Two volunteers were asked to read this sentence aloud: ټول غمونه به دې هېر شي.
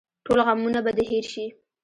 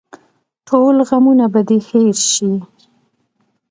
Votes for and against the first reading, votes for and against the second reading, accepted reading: 0, 2, 2, 0, second